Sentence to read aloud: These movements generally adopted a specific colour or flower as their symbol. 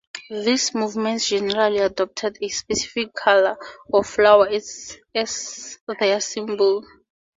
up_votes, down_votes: 0, 4